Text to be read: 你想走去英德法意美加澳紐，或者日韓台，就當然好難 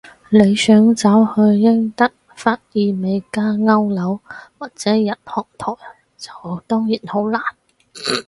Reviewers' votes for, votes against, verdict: 0, 4, rejected